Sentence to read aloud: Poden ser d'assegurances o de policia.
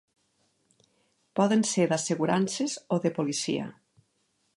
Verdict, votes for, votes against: accepted, 3, 0